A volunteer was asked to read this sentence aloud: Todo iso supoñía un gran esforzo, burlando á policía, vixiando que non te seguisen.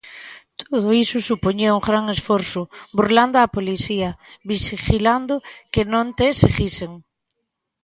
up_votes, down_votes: 0, 2